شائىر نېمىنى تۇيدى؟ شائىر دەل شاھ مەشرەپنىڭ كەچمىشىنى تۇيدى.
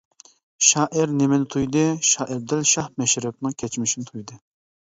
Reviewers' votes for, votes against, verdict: 2, 0, accepted